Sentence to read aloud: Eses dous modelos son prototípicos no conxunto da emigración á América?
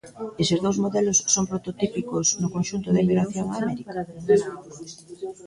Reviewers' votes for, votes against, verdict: 1, 2, rejected